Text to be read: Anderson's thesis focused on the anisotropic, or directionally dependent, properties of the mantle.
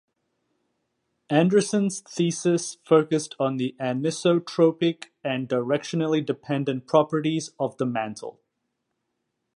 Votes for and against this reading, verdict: 1, 2, rejected